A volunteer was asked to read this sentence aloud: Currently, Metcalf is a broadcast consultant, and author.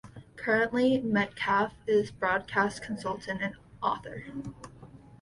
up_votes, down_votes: 0, 2